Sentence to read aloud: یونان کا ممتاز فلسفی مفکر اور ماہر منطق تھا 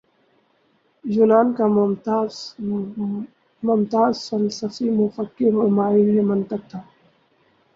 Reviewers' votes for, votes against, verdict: 2, 0, accepted